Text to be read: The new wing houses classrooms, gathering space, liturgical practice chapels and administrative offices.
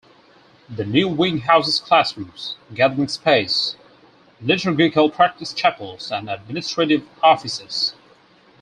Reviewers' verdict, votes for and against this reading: rejected, 2, 4